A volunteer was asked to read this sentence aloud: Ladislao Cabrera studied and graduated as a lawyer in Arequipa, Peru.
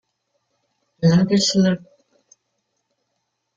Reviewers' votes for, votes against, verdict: 0, 2, rejected